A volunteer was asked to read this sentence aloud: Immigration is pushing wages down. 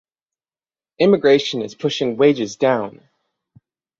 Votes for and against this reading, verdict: 6, 0, accepted